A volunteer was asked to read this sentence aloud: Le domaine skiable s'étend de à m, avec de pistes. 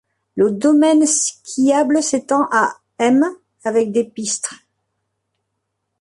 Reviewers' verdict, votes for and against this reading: rejected, 1, 2